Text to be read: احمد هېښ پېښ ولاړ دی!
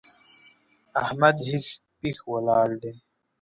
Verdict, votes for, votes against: accepted, 2, 0